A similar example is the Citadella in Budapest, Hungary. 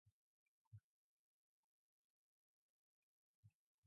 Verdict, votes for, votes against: rejected, 0, 2